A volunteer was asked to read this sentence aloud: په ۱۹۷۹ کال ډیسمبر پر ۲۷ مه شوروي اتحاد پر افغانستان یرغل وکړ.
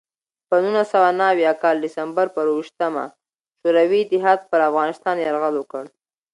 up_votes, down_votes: 0, 2